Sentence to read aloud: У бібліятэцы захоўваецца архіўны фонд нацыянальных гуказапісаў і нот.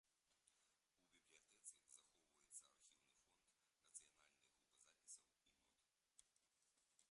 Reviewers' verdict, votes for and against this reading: rejected, 0, 2